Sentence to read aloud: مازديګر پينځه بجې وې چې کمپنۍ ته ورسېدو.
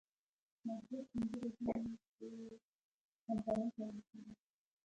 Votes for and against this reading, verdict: 0, 2, rejected